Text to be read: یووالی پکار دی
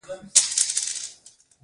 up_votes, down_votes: 1, 2